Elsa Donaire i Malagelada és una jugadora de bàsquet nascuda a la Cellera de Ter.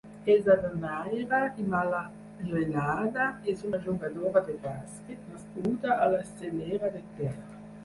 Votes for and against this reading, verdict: 2, 4, rejected